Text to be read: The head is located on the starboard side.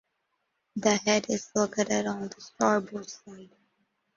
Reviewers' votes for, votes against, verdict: 0, 2, rejected